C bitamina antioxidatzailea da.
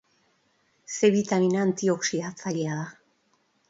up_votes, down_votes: 4, 0